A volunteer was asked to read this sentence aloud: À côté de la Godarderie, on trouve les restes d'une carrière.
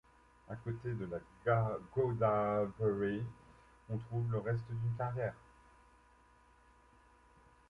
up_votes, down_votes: 0, 2